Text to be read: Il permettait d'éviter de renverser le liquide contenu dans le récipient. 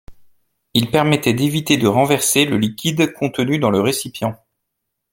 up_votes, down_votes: 2, 0